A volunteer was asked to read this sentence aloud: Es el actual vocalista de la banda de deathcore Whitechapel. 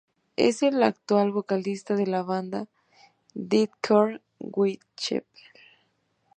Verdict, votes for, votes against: rejected, 1, 2